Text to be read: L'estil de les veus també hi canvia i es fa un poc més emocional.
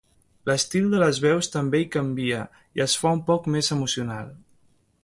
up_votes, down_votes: 3, 0